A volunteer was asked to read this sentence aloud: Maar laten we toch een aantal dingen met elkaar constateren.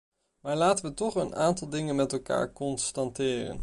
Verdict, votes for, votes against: rejected, 0, 2